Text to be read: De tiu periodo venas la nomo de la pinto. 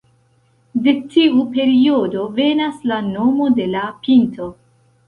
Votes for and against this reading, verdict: 1, 2, rejected